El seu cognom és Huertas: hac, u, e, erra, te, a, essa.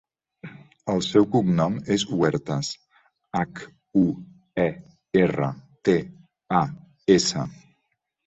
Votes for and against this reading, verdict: 2, 0, accepted